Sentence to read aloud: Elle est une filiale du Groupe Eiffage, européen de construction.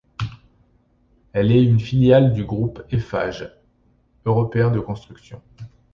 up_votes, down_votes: 2, 0